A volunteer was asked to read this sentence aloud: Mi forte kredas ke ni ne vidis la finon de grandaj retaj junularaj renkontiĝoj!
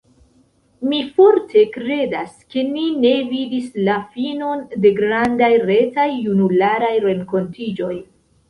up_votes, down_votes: 2, 0